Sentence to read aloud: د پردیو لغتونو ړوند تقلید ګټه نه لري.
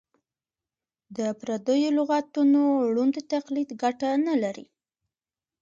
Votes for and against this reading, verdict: 2, 0, accepted